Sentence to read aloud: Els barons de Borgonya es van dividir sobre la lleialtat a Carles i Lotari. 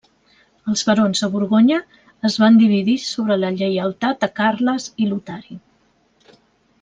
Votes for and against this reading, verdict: 2, 0, accepted